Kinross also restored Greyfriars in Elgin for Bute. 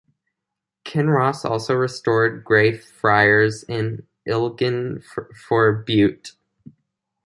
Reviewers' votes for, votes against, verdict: 0, 2, rejected